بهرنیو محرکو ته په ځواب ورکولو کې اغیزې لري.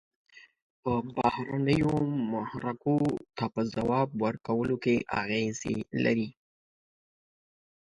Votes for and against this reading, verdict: 2, 0, accepted